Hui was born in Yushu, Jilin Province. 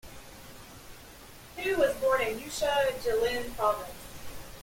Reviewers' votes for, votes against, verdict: 1, 2, rejected